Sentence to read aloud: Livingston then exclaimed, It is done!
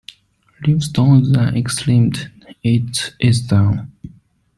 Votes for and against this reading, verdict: 1, 2, rejected